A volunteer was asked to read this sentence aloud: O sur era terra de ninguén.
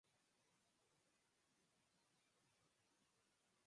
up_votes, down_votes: 0, 4